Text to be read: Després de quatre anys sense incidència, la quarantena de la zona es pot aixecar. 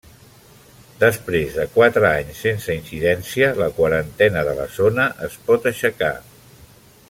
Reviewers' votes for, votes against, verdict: 1, 2, rejected